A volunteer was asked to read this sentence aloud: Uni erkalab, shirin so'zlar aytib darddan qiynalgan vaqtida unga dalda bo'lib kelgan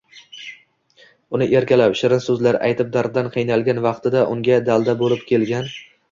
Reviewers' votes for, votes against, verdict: 0, 2, rejected